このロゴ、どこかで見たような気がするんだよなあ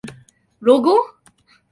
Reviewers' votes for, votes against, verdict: 1, 2, rejected